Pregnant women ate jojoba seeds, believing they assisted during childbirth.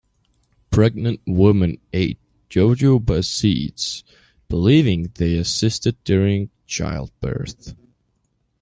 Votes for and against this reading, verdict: 2, 0, accepted